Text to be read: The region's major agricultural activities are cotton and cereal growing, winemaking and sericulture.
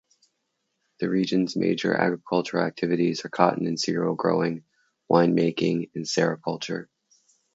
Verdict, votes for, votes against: accepted, 2, 0